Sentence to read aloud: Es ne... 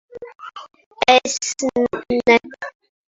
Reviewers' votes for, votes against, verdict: 0, 2, rejected